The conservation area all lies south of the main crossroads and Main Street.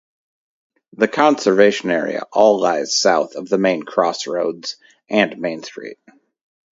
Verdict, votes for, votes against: accepted, 4, 0